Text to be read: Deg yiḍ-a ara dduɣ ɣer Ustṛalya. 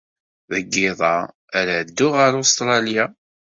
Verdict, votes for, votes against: accepted, 2, 0